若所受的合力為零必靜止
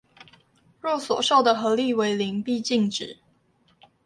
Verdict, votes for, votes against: accepted, 2, 0